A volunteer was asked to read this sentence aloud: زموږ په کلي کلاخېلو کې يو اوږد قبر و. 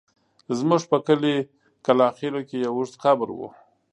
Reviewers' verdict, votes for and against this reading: accepted, 2, 0